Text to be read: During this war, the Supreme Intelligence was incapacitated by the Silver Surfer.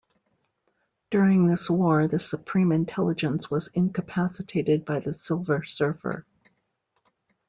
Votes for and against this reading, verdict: 2, 0, accepted